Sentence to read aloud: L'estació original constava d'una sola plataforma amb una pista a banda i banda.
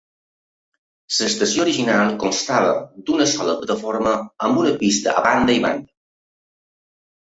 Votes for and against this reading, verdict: 1, 2, rejected